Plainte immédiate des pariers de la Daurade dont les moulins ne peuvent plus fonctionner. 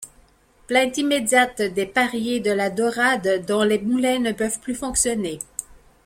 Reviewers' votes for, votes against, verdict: 2, 0, accepted